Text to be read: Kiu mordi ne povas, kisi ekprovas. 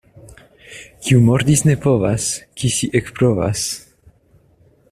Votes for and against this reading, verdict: 2, 1, accepted